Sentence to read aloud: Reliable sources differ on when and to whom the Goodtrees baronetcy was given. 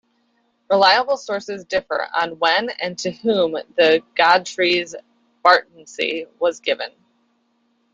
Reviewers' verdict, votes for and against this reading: rejected, 1, 2